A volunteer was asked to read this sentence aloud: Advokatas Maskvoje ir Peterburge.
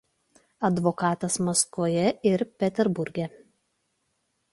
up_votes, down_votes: 2, 0